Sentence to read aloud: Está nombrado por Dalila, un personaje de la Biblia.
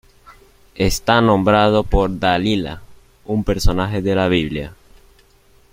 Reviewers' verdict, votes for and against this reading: accepted, 2, 0